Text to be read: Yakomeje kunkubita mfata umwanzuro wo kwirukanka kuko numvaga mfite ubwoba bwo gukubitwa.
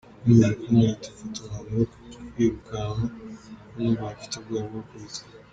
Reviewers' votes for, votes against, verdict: 2, 1, accepted